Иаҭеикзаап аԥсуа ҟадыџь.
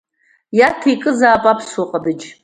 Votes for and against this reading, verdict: 0, 2, rejected